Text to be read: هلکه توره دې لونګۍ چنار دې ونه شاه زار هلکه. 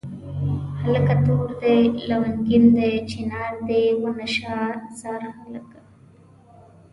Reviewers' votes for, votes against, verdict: 1, 2, rejected